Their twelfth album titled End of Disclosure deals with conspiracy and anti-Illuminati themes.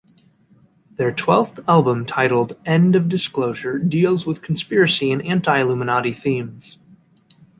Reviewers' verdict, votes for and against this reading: accepted, 2, 0